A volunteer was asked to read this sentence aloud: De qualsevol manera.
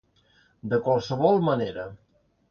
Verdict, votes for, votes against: accepted, 2, 0